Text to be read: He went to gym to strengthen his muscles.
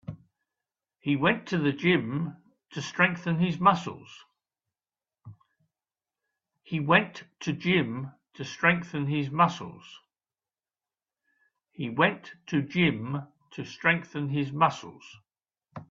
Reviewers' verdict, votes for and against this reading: rejected, 1, 2